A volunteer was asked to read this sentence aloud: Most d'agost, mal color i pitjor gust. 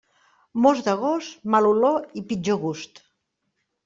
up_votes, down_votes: 1, 2